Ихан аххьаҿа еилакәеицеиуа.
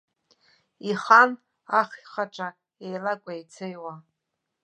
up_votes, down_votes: 1, 2